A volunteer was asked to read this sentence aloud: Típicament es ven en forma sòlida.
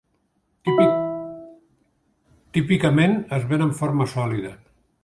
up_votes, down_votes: 0, 2